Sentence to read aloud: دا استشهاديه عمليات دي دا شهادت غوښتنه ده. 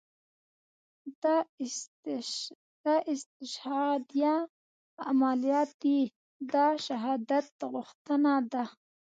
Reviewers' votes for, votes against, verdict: 2, 1, accepted